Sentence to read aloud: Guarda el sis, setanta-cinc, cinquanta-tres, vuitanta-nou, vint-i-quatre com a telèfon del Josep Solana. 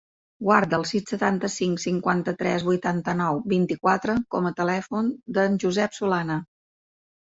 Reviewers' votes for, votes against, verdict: 2, 0, accepted